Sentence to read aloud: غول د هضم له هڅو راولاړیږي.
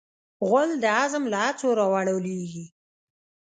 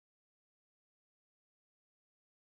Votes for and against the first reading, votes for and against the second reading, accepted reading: 1, 2, 2, 1, second